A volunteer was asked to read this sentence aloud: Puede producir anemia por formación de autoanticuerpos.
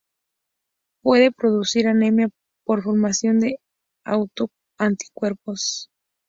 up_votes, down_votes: 0, 2